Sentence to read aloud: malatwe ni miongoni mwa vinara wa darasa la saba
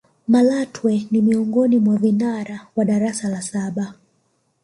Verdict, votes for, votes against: accepted, 3, 1